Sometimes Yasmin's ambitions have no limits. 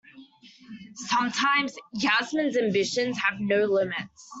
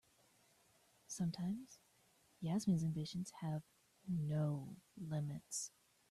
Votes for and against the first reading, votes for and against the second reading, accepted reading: 0, 2, 2, 0, second